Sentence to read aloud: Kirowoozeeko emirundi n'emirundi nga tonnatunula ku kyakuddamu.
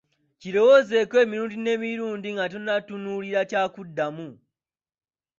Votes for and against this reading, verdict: 2, 0, accepted